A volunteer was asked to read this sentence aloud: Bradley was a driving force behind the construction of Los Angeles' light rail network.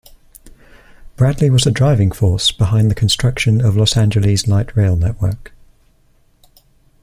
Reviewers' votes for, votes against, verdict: 2, 0, accepted